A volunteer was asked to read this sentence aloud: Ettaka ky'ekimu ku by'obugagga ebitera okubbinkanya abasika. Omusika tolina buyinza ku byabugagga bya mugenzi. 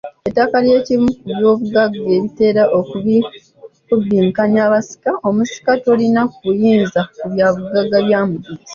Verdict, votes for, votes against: rejected, 1, 2